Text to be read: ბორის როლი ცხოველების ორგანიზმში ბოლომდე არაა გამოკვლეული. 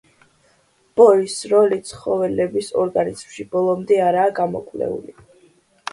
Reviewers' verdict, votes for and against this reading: accepted, 2, 0